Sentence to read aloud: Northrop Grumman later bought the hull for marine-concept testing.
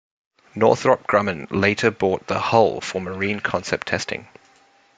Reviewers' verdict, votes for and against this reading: accepted, 2, 0